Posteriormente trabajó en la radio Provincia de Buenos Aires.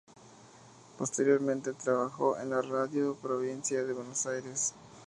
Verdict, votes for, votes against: rejected, 0, 2